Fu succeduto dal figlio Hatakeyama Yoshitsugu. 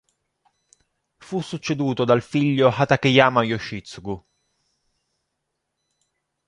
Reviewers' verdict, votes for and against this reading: accepted, 2, 0